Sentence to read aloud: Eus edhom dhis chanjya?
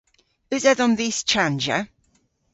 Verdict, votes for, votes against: accepted, 2, 0